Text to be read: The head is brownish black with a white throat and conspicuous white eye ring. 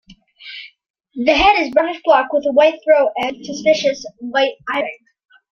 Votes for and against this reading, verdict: 0, 2, rejected